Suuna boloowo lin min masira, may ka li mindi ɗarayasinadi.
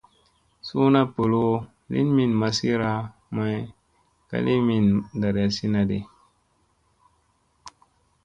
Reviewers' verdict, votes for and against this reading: accepted, 2, 0